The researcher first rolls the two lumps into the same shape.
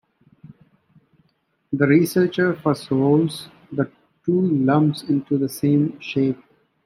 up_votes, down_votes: 2, 0